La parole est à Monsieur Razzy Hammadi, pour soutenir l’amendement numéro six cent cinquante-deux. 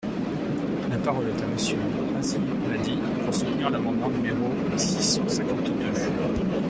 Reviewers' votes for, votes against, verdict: 1, 2, rejected